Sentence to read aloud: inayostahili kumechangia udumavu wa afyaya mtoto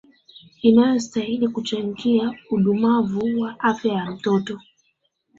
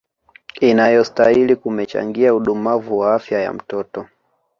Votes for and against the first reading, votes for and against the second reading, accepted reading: 1, 2, 2, 1, second